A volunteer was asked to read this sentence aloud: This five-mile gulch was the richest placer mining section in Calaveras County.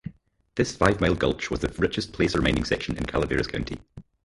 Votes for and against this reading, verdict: 2, 4, rejected